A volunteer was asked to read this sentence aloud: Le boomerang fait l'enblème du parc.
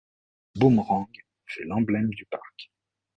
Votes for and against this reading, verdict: 0, 2, rejected